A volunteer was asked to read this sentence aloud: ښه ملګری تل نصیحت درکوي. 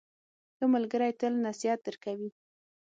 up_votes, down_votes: 6, 3